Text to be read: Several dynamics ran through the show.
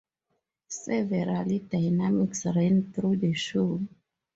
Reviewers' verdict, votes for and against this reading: rejected, 0, 2